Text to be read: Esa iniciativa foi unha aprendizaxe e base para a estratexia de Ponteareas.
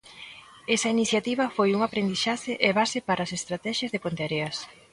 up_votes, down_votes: 0, 2